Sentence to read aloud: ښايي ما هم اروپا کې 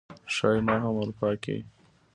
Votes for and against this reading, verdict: 3, 0, accepted